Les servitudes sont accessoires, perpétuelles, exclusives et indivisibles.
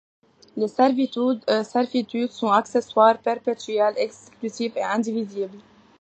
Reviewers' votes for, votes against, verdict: 0, 2, rejected